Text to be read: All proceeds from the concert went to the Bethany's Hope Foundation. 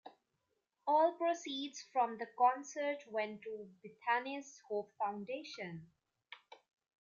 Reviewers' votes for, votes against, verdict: 1, 2, rejected